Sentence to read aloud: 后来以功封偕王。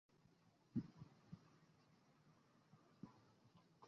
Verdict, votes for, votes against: rejected, 0, 2